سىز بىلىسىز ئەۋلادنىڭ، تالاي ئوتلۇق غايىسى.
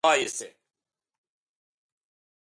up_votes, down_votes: 0, 2